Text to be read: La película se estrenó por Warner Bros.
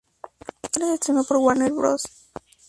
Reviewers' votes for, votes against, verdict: 0, 2, rejected